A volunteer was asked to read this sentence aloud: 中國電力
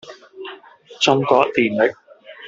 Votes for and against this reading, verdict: 0, 2, rejected